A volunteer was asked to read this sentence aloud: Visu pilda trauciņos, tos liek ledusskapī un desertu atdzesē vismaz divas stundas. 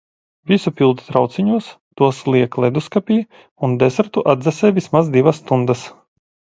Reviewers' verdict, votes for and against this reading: accepted, 2, 0